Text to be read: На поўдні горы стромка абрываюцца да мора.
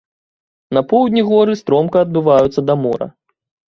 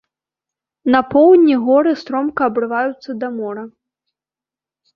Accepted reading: second